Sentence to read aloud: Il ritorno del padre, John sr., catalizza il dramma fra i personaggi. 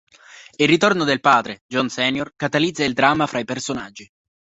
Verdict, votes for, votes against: accepted, 2, 0